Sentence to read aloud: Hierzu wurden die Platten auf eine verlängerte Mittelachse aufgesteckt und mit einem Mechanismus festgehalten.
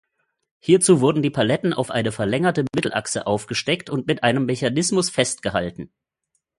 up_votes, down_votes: 1, 2